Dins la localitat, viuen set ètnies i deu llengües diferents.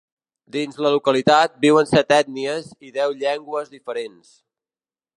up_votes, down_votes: 2, 0